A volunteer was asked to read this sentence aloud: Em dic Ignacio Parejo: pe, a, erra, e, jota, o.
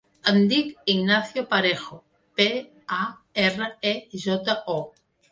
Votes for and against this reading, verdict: 3, 0, accepted